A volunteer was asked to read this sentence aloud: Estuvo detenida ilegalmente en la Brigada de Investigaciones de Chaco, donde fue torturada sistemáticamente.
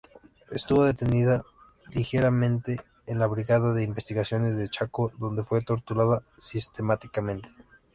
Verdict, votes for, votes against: rejected, 0, 2